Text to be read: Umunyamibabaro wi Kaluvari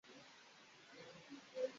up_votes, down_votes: 0, 2